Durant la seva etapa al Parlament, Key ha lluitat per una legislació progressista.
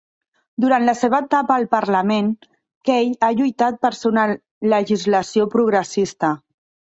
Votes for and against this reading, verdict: 0, 2, rejected